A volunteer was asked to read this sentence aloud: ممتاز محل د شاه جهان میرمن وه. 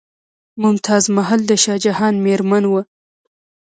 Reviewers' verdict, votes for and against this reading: rejected, 1, 2